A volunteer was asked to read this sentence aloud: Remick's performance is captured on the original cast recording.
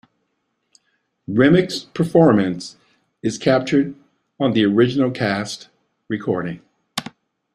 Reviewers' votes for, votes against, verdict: 2, 0, accepted